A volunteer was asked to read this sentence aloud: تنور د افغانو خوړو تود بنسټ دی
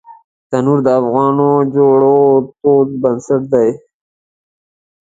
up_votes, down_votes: 2, 0